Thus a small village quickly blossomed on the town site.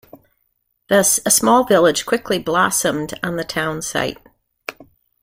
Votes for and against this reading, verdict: 2, 0, accepted